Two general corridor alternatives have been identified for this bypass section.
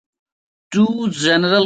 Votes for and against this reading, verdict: 0, 2, rejected